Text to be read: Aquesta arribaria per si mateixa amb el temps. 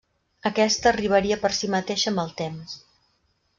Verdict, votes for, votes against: accepted, 3, 0